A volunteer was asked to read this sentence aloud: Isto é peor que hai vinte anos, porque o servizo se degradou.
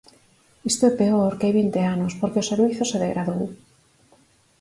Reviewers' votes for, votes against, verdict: 4, 0, accepted